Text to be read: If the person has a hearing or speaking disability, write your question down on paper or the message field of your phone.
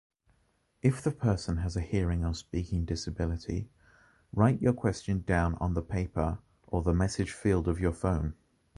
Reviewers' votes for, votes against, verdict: 0, 2, rejected